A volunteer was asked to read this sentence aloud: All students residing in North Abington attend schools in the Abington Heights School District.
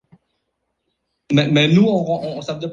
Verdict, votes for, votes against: rejected, 0, 2